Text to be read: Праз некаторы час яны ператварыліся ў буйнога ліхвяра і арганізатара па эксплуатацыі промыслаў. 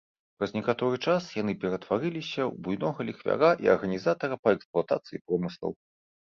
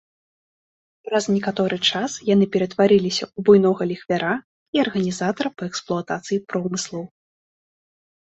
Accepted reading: second